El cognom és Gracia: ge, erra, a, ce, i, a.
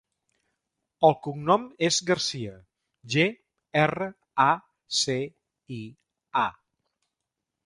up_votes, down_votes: 1, 2